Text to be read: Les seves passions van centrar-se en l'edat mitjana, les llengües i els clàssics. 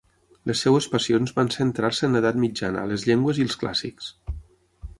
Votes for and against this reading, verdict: 3, 6, rejected